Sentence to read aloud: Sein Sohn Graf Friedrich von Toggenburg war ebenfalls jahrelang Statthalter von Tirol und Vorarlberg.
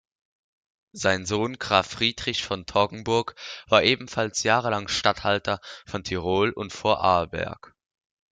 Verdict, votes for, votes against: accepted, 2, 0